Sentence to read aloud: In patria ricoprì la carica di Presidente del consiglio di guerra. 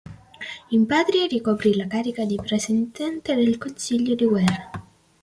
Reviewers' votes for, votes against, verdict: 1, 2, rejected